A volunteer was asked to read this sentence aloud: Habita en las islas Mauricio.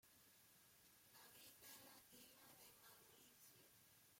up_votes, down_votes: 0, 2